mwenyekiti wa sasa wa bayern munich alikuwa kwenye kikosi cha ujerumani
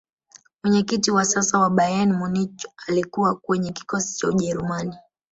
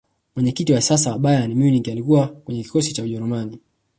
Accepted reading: second